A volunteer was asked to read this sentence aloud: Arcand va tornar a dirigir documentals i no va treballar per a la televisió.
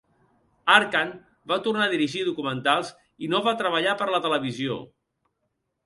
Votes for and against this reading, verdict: 1, 2, rejected